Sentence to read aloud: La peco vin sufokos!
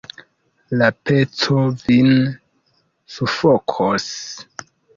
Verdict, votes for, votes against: accepted, 2, 1